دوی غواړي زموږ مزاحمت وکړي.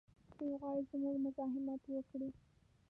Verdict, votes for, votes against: rejected, 1, 2